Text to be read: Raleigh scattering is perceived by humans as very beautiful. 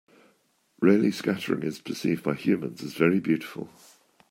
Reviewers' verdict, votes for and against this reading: accepted, 2, 0